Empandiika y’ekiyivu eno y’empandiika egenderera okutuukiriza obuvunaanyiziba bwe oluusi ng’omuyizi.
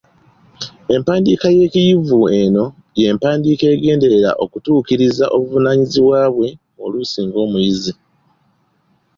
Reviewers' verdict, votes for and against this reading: accepted, 2, 0